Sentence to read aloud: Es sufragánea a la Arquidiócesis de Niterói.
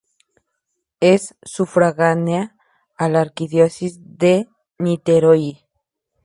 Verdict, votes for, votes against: accepted, 2, 0